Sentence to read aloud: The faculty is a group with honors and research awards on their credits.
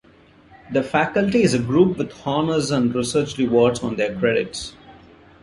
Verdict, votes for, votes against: rejected, 1, 2